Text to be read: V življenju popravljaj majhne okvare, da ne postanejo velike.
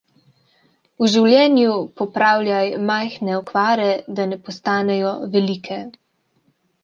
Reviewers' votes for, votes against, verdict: 2, 0, accepted